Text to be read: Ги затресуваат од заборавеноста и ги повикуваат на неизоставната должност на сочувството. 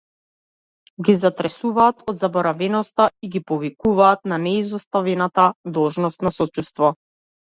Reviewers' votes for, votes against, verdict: 0, 2, rejected